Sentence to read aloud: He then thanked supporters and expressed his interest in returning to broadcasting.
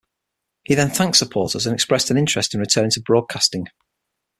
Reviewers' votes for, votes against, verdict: 0, 6, rejected